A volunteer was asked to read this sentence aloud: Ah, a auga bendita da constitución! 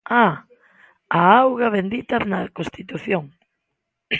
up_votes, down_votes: 0, 2